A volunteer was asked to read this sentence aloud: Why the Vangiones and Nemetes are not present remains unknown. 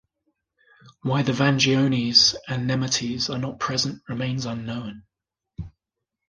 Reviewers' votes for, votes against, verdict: 2, 0, accepted